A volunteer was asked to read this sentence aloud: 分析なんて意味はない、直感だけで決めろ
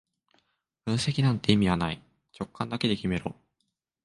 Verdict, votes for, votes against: accepted, 2, 0